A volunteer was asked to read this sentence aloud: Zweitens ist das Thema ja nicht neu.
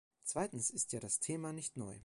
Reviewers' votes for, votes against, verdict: 0, 2, rejected